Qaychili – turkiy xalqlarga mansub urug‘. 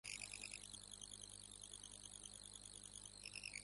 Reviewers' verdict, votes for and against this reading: rejected, 0, 2